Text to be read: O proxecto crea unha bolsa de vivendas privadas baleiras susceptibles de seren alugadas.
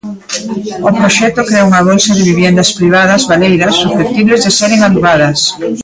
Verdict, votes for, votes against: rejected, 0, 2